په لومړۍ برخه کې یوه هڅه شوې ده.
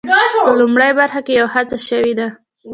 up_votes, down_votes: 1, 2